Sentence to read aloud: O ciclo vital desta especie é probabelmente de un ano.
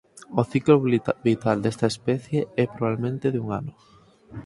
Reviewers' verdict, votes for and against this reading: rejected, 0, 4